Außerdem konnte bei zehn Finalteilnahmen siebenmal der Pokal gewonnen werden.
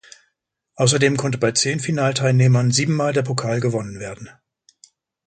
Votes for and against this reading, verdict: 0, 2, rejected